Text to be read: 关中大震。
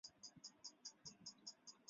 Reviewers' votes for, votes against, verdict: 1, 2, rejected